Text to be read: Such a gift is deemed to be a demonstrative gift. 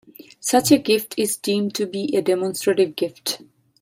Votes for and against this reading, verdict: 2, 0, accepted